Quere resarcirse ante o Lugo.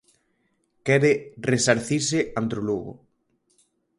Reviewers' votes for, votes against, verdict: 2, 2, rejected